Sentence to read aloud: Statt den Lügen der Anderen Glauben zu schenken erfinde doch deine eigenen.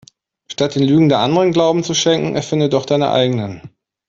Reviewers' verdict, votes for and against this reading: accepted, 2, 0